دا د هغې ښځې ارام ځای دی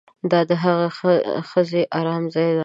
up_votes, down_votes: 0, 2